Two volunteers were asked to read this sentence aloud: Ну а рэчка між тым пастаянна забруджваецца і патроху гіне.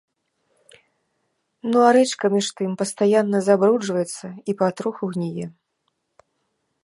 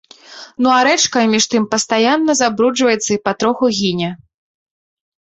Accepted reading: second